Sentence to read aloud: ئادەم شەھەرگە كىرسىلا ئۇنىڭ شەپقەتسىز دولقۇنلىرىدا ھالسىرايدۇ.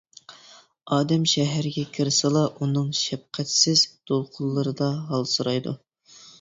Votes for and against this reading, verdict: 2, 0, accepted